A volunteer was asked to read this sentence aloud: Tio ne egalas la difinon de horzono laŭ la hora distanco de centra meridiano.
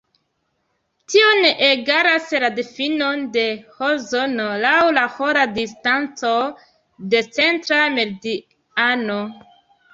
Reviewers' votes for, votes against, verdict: 0, 2, rejected